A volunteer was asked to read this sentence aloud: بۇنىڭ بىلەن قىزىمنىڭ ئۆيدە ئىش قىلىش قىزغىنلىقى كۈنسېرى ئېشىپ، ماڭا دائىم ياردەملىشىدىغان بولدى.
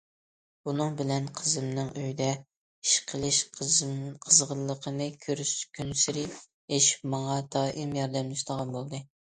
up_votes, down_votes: 0, 2